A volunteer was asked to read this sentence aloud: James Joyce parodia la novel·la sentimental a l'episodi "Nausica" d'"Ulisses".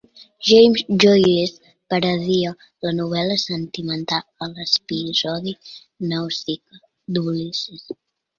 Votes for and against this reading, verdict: 1, 2, rejected